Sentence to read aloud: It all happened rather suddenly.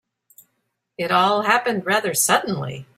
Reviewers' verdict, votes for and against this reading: accepted, 2, 0